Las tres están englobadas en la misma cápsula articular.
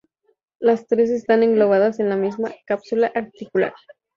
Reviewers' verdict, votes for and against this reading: accepted, 2, 0